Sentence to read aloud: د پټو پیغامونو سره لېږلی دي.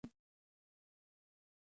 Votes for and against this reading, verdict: 1, 2, rejected